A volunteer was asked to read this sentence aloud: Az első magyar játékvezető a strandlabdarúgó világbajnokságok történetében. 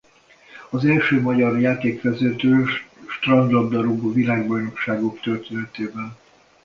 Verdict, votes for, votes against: rejected, 0, 2